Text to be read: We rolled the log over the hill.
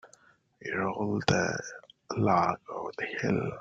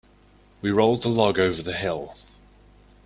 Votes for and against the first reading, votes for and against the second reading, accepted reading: 1, 3, 2, 0, second